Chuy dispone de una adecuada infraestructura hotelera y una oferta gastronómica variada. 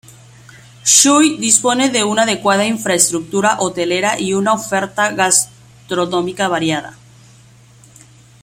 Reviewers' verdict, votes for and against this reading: rejected, 1, 2